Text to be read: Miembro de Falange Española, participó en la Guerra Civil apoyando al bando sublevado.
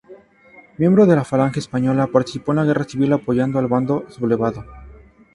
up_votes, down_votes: 0, 2